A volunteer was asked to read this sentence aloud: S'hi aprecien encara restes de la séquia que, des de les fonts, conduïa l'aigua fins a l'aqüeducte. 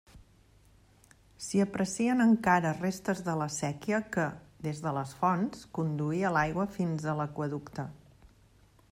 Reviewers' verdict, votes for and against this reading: accepted, 2, 0